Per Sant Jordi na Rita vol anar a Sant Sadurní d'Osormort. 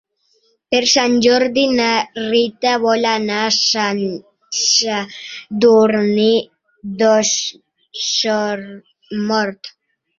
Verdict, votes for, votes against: accepted, 2, 0